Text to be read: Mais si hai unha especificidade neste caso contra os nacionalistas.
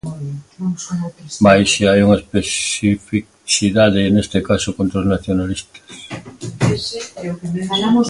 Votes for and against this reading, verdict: 0, 3, rejected